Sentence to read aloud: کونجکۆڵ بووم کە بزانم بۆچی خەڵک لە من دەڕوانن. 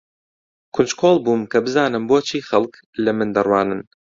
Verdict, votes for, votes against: accepted, 2, 0